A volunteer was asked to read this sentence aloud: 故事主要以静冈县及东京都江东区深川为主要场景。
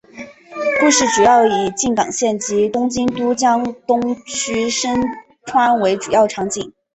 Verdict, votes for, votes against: accepted, 3, 1